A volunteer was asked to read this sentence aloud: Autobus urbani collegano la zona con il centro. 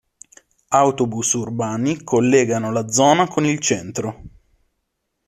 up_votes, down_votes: 2, 0